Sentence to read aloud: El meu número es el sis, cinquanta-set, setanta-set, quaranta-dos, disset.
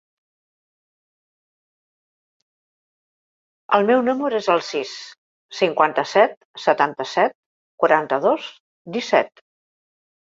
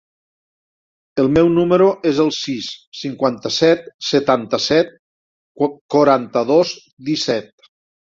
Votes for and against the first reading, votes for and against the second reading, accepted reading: 4, 0, 0, 2, first